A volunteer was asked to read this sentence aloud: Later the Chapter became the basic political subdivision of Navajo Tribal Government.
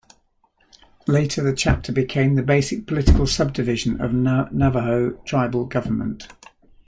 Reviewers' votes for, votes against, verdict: 1, 2, rejected